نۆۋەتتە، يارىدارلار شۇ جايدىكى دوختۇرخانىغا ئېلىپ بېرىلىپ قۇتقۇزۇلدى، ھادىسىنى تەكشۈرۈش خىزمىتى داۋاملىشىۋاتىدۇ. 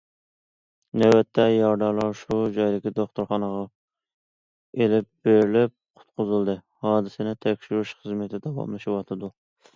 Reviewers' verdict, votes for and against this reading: accepted, 2, 0